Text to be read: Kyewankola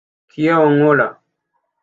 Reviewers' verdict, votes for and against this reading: rejected, 1, 2